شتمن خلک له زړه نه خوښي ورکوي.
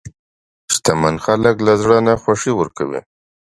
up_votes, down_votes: 2, 0